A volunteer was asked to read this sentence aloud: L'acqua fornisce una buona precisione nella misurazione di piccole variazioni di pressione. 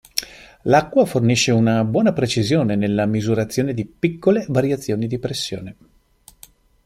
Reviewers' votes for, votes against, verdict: 2, 0, accepted